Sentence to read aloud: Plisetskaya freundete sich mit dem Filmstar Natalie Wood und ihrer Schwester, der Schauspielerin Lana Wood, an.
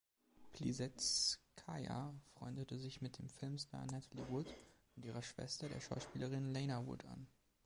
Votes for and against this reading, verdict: 2, 0, accepted